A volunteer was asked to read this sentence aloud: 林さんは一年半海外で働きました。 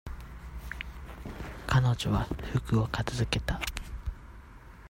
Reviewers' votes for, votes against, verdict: 0, 2, rejected